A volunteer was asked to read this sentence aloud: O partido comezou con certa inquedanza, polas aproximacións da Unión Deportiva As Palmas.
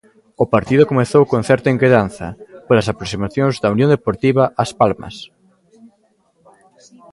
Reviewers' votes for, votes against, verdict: 2, 0, accepted